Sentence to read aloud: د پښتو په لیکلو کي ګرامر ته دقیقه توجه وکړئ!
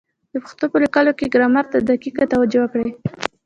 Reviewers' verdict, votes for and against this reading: rejected, 1, 2